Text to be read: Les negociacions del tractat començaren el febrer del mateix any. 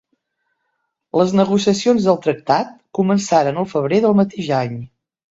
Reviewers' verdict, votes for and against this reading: accepted, 3, 0